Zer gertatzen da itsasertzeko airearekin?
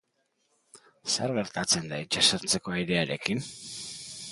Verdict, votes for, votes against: accepted, 2, 0